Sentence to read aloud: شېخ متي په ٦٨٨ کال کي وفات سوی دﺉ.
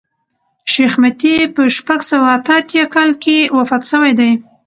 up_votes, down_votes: 0, 2